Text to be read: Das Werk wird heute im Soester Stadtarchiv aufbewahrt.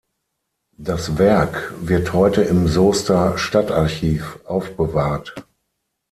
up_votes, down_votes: 6, 0